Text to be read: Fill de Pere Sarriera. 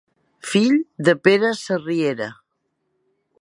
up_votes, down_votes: 3, 0